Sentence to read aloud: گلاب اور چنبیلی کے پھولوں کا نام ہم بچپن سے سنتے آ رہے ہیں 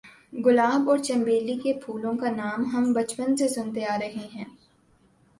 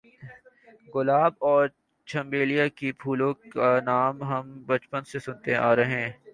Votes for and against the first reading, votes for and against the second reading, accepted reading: 3, 1, 3, 5, first